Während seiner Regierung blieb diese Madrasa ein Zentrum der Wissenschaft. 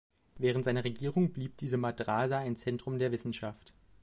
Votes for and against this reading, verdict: 2, 0, accepted